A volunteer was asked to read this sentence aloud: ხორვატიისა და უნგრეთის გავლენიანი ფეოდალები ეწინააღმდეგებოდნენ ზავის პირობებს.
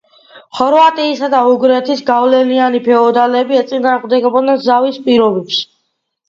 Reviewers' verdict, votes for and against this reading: accepted, 2, 1